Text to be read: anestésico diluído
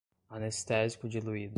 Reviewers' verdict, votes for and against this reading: accepted, 2, 0